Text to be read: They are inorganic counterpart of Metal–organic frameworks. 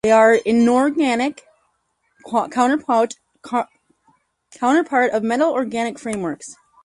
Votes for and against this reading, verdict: 0, 4, rejected